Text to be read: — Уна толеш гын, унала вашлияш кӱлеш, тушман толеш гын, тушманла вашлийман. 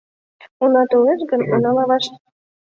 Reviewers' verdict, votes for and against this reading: rejected, 0, 2